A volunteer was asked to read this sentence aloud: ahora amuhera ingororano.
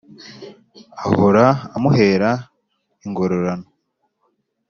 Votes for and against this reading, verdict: 2, 0, accepted